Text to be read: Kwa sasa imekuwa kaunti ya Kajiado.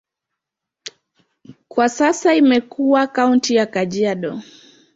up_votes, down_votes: 2, 0